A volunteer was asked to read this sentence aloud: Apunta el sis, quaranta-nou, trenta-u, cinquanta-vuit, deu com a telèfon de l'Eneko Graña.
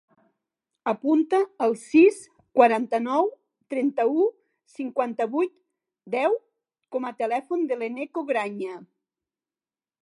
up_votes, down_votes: 6, 0